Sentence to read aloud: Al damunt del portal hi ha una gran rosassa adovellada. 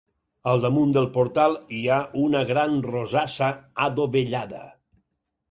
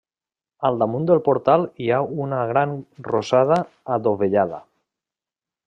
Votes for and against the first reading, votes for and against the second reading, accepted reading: 8, 0, 0, 2, first